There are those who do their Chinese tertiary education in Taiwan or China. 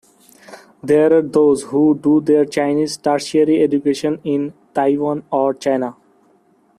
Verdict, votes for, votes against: accepted, 2, 0